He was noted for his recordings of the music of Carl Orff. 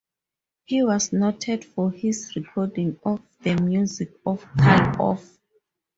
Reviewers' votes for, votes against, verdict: 0, 4, rejected